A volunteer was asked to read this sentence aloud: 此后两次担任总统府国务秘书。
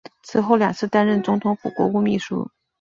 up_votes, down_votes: 2, 0